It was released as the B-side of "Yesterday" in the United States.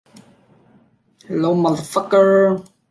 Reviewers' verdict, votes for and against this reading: rejected, 0, 2